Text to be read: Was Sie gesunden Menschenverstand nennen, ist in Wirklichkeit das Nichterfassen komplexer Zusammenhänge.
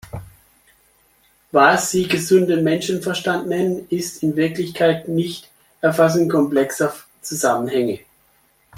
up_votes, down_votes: 0, 2